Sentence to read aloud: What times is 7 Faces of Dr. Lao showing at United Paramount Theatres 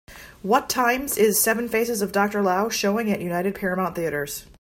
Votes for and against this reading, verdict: 0, 2, rejected